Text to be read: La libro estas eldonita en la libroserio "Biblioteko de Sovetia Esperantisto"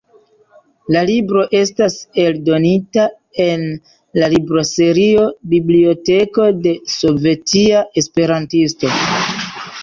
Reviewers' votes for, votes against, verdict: 1, 2, rejected